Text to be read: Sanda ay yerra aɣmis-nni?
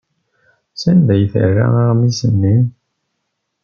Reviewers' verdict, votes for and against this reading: rejected, 0, 2